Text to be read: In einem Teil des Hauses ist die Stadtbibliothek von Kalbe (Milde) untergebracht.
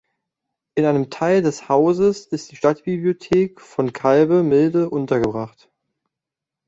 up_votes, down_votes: 2, 0